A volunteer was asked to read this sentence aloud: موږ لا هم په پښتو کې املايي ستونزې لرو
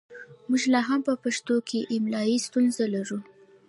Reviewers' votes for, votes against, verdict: 1, 2, rejected